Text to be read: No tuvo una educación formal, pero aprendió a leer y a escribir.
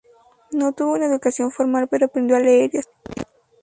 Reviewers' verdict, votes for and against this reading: accepted, 2, 0